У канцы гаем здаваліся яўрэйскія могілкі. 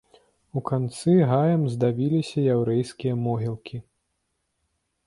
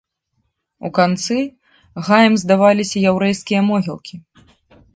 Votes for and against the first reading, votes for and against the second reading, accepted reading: 1, 2, 2, 0, second